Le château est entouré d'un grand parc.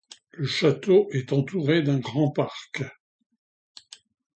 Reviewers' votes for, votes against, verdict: 2, 0, accepted